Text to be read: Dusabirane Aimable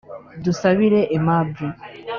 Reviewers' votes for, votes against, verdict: 2, 3, rejected